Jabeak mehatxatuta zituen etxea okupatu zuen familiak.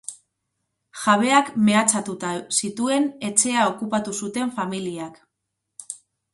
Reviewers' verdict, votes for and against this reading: rejected, 4, 6